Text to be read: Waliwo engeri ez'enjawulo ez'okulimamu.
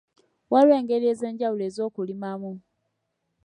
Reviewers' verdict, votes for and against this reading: accepted, 2, 0